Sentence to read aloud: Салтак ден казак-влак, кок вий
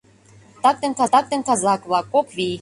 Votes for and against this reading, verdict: 0, 2, rejected